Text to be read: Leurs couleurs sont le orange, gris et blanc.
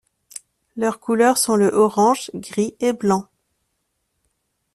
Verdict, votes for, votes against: accepted, 2, 0